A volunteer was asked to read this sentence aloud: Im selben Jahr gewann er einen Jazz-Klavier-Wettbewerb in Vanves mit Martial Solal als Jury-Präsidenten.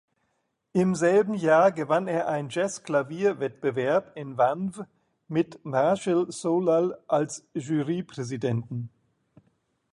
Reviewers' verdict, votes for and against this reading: rejected, 0, 2